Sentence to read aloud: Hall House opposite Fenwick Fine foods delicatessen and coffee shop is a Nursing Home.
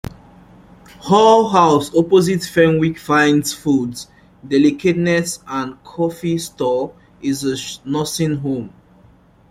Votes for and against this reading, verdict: 0, 2, rejected